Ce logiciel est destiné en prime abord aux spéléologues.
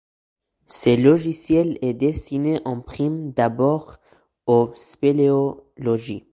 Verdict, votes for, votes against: rejected, 1, 2